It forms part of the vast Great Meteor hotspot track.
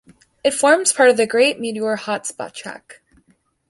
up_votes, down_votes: 1, 2